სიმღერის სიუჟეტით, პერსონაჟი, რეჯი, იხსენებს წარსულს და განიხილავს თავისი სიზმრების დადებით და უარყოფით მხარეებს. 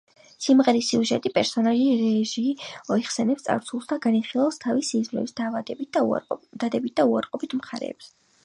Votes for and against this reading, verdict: 0, 3, rejected